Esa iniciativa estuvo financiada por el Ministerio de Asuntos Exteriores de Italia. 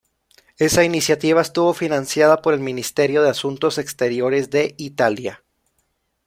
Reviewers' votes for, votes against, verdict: 2, 0, accepted